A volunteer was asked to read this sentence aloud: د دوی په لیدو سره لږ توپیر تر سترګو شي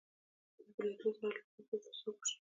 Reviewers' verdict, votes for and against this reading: rejected, 1, 2